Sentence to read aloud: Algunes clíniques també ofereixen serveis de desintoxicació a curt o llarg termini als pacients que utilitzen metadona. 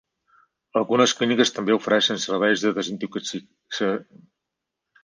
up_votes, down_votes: 0, 4